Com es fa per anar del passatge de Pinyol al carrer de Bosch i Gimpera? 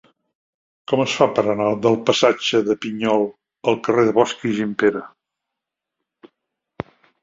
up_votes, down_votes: 2, 0